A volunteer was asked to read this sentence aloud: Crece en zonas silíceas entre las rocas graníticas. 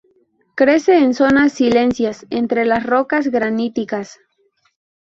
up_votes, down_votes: 0, 2